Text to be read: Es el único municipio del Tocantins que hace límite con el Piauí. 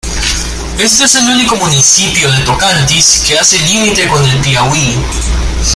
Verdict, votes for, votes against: rejected, 0, 2